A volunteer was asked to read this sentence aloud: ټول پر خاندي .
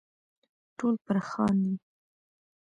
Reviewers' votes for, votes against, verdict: 2, 1, accepted